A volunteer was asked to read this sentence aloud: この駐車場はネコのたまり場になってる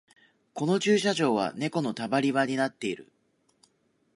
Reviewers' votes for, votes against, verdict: 2, 1, accepted